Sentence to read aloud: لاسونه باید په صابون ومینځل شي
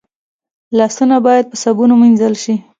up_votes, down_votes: 2, 0